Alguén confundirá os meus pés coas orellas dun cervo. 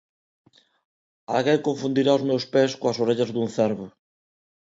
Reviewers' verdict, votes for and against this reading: accepted, 2, 1